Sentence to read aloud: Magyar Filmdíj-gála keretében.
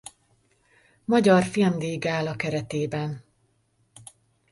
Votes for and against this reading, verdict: 2, 0, accepted